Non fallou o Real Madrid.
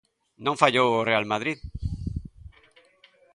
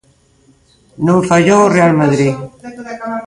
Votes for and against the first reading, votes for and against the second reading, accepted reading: 2, 0, 0, 2, first